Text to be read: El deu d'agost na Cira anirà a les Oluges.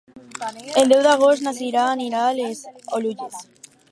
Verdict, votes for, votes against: rejected, 0, 2